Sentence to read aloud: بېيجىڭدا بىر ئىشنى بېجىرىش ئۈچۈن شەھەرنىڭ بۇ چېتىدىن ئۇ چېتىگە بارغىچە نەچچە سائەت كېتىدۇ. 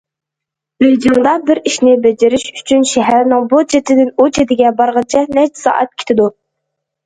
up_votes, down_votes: 2, 0